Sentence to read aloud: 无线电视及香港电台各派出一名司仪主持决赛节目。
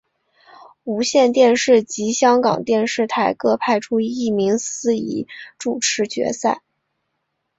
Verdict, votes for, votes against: rejected, 0, 2